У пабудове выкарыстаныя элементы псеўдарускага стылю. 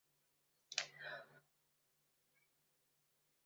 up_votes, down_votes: 0, 2